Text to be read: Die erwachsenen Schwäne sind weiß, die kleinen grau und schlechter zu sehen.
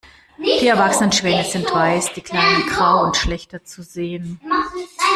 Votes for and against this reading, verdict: 0, 2, rejected